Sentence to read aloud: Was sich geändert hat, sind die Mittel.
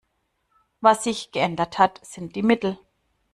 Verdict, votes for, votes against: accepted, 2, 0